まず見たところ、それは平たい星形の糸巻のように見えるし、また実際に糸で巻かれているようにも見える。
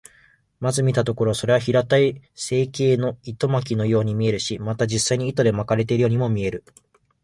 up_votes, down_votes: 1, 3